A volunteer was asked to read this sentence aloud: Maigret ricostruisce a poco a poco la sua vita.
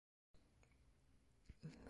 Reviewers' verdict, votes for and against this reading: rejected, 0, 2